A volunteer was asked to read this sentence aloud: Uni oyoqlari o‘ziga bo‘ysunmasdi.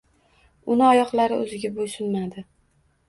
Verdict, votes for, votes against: rejected, 0, 2